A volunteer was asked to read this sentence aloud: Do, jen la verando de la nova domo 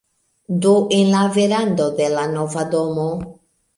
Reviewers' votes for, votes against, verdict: 0, 2, rejected